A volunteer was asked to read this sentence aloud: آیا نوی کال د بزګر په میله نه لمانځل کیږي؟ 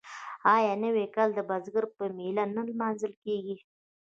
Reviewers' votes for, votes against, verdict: 0, 2, rejected